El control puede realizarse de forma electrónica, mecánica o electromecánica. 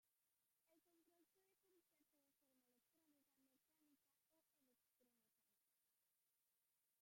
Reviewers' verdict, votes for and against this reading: rejected, 0, 2